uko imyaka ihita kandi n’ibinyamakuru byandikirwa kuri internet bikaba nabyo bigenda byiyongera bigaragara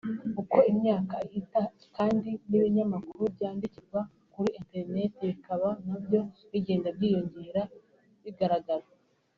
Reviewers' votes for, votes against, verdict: 3, 0, accepted